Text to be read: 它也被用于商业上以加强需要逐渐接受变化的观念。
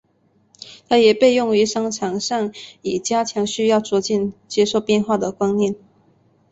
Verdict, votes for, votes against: rejected, 0, 2